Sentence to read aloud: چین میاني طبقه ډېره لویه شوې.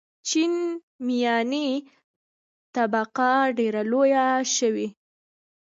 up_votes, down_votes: 2, 1